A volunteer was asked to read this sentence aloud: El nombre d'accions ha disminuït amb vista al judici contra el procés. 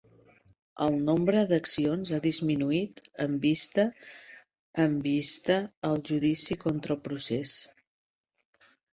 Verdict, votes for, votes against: rejected, 1, 2